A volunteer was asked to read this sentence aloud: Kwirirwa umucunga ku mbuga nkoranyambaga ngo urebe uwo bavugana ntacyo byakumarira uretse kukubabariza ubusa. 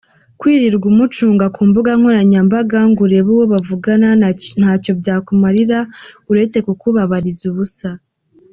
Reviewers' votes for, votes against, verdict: 0, 2, rejected